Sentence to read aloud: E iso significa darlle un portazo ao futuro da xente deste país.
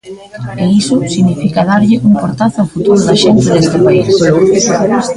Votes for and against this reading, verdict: 0, 2, rejected